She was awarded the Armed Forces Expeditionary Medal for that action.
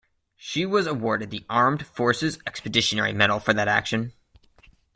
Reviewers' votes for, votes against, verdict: 2, 1, accepted